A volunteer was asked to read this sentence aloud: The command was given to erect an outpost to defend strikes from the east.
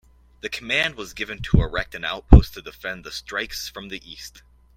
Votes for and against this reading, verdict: 0, 2, rejected